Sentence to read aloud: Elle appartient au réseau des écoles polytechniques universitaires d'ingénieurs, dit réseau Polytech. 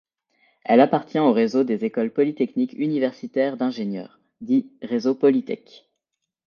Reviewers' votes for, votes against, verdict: 2, 0, accepted